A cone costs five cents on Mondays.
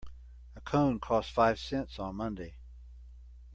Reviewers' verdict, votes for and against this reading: rejected, 0, 2